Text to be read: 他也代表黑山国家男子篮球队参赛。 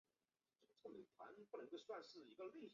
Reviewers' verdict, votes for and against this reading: rejected, 0, 2